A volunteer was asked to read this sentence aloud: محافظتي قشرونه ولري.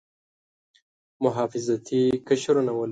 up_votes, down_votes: 1, 3